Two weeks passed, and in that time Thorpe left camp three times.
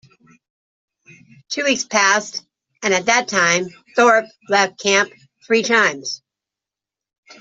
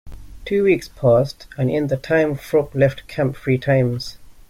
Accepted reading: second